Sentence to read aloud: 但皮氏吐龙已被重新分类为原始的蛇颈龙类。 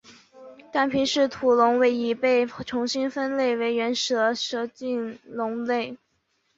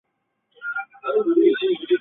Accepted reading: first